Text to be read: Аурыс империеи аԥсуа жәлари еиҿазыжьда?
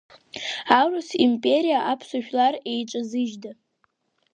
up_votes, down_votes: 3, 2